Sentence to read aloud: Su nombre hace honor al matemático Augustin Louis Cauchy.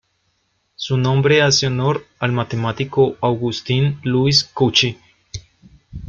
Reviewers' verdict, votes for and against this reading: rejected, 1, 2